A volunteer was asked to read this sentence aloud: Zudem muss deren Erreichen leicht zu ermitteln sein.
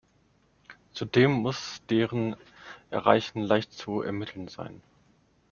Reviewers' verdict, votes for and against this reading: accepted, 2, 0